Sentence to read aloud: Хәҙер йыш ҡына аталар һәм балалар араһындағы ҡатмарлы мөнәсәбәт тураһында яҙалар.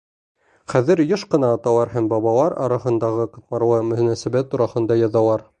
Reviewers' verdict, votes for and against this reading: rejected, 1, 2